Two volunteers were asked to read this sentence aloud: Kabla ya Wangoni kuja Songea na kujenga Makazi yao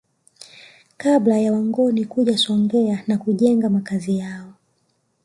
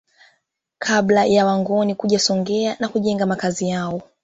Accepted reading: second